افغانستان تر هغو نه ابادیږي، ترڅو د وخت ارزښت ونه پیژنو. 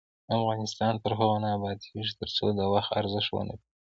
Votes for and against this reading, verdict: 2, 0, accepted